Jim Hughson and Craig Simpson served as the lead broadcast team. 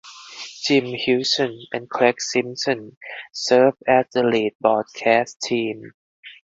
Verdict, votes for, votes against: accepted, 4, 2